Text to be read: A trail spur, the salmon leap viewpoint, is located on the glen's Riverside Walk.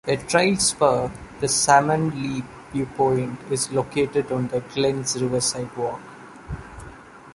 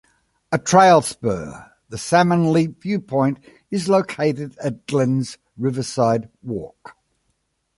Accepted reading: first